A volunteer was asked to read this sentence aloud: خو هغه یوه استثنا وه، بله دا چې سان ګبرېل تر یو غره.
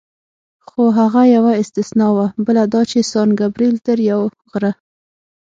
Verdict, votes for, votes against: accepted, 6, 0